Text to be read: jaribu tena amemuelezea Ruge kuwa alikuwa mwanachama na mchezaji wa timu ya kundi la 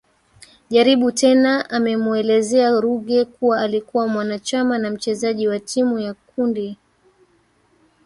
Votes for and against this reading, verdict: 1, 2, rejected